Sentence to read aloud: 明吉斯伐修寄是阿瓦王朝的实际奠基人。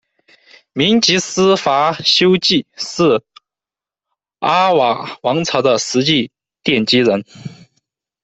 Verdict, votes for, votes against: rejected, 0, 2